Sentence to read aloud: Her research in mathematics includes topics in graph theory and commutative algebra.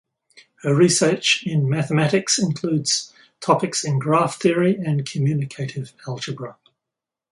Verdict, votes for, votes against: rejected, 2, 2